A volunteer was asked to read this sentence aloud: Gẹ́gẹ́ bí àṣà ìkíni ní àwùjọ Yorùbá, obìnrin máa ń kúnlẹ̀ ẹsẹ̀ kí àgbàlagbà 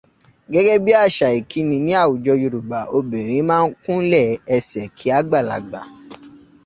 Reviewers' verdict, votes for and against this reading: accepted, 2, 0